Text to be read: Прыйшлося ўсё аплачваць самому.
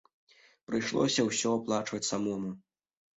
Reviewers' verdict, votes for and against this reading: accepted, 2, 0